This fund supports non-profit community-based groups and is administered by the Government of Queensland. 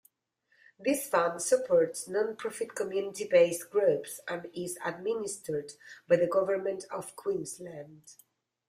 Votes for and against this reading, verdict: 0, 2, rejected